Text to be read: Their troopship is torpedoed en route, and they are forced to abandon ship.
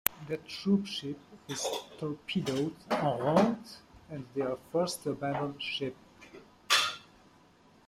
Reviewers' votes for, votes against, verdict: 0, 2, rejected